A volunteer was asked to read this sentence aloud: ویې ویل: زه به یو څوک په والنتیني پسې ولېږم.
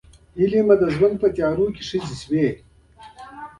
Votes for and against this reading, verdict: 1, 2, rejected